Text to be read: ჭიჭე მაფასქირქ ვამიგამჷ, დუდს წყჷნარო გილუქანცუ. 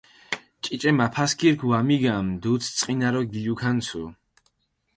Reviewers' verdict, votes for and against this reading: accepted, 4, 0